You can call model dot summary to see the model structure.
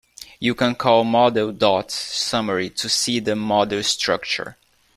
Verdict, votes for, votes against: rejected, 1, 2